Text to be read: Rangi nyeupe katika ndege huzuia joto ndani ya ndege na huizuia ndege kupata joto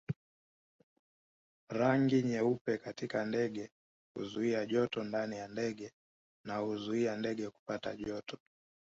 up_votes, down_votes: 0, 2